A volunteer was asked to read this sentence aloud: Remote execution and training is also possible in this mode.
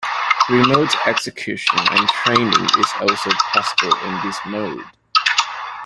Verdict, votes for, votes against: accepted, 2, 1